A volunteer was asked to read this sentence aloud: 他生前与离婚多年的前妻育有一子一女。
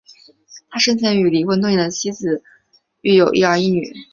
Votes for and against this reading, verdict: 0, 2, rejected